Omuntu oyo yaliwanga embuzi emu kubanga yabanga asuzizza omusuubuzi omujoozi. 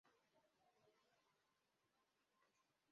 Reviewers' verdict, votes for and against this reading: rejected, 1, 2